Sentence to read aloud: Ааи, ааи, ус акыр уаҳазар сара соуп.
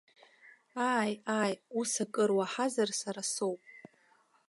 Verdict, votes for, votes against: accepted, 2, 0